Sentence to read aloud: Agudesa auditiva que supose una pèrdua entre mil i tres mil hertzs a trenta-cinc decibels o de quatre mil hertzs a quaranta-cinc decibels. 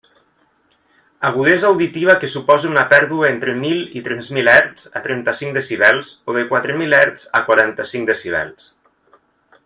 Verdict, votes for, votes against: accepted, 2, 0